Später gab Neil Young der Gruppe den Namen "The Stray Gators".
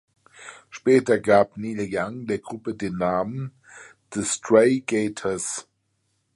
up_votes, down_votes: 2, 0